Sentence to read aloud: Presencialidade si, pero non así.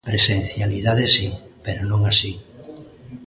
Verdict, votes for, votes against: accepted, 2, 0